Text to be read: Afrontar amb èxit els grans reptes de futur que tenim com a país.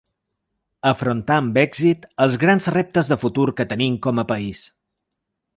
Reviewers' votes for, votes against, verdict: 3, 0, accepted